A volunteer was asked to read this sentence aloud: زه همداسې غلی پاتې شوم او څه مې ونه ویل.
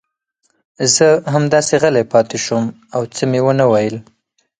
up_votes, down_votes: 4, 0